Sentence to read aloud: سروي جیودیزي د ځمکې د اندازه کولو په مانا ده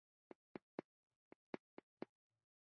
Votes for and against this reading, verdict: 0, 2, rejected